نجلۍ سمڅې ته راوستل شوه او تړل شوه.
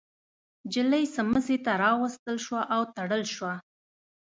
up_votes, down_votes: 2, 0